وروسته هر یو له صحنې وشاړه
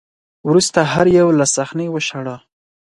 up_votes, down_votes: 4, 0